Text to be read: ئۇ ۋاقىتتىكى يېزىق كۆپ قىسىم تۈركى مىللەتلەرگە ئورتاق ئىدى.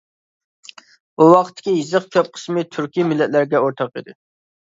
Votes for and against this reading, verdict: 0, 2, rejected